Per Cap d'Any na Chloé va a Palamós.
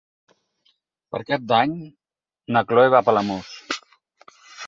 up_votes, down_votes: 4, 0